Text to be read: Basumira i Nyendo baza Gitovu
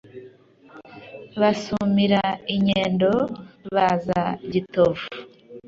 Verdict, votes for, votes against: accepted, 2, 0